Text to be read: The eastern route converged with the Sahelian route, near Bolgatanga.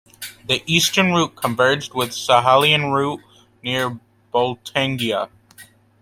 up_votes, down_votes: 1, 2